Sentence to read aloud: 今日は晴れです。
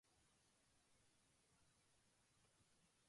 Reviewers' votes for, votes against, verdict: 1, 2, rejected